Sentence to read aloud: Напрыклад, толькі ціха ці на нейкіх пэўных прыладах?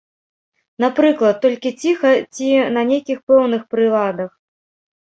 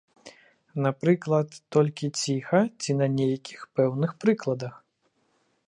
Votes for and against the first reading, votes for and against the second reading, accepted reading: 3, 0, 0, 2, first